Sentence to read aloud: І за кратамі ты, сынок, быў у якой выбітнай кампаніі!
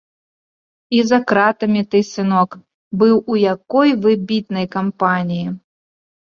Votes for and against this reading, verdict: 2, 0, accepted